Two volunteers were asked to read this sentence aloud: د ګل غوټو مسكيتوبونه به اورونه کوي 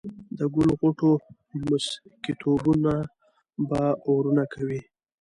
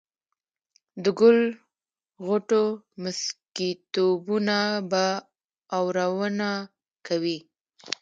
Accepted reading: first